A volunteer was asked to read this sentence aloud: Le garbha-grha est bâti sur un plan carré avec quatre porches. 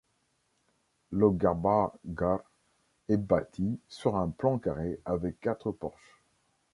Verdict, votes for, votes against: rejected, 1, 3